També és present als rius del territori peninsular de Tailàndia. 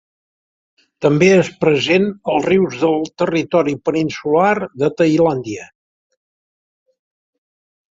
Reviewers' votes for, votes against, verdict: 3, 0, accepted